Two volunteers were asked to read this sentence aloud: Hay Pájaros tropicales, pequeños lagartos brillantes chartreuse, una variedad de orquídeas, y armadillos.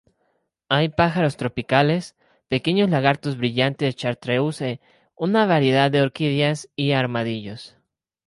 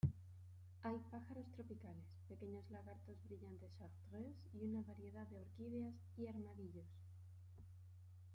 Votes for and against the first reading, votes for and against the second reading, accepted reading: 4, 0, 1, 2, first